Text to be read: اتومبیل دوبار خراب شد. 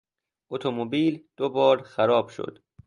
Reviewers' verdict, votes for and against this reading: accepted, 3, 0